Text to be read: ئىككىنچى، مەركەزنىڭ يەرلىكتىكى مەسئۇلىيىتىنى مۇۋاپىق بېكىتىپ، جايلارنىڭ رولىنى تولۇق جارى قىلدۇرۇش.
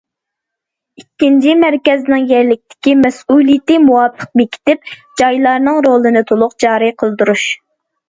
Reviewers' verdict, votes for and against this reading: rejected, 1, 2